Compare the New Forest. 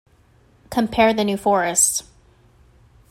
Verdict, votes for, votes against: accepted, 2, 0